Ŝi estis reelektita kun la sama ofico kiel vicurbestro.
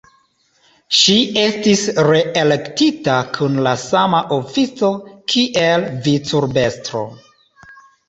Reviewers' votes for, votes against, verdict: 3, 2, accepted